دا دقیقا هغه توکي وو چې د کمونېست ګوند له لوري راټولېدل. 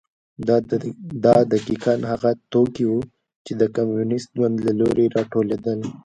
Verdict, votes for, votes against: accepted, 2, 0